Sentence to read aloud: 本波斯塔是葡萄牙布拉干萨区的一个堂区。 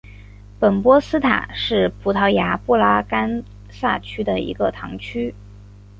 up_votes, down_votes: 2, 0